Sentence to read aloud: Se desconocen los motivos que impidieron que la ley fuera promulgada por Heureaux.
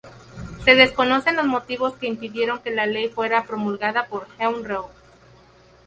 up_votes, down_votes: 0, 2